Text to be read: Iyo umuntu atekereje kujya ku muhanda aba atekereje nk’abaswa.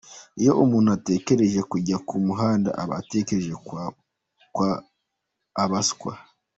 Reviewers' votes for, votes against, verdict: 1, 2, rejected